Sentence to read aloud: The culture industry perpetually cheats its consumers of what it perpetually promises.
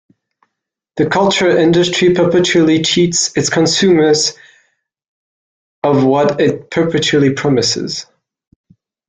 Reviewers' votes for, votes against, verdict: 0, 2, rejected